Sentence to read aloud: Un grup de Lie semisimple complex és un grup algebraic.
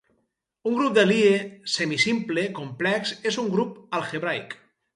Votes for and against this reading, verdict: 2, 2, rejected